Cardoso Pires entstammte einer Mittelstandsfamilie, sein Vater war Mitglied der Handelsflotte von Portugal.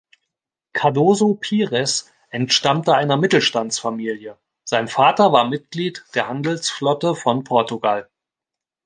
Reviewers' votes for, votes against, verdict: 2, 0, accepted